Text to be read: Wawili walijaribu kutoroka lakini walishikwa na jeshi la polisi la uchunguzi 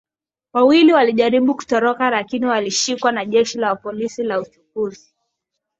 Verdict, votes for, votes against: accepted, 2, 0